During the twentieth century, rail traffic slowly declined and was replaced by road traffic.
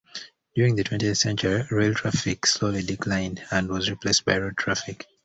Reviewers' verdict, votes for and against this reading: accepted, 2, 0